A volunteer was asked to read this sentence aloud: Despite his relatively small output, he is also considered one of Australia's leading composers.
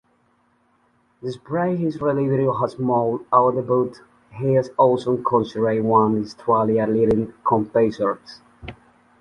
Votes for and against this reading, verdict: 0, 2, rejected